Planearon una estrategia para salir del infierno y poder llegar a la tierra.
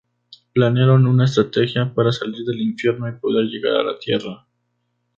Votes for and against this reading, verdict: 4, 0, accepted